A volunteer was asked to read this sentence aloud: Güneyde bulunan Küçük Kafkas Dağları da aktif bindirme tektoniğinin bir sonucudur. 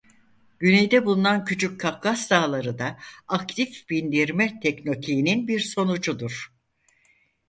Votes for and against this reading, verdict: 2, 4, rejected